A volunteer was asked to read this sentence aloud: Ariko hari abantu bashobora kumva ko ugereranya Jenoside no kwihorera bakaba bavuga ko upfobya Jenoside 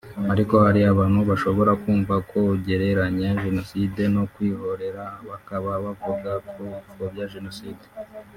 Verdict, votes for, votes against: rejected, 0, 2